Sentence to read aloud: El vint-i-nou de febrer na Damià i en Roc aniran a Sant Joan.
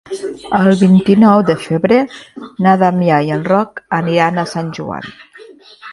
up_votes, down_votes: 1, 2